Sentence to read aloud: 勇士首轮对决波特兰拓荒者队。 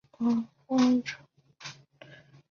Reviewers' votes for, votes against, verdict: 0, 2, rejected